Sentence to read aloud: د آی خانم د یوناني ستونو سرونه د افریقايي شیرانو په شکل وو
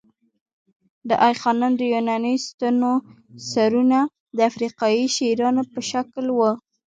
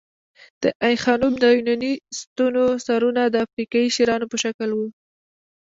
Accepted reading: first